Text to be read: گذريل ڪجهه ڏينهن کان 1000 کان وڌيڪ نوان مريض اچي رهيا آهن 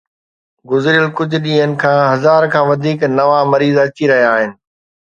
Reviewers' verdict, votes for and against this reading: rejected, 0, 2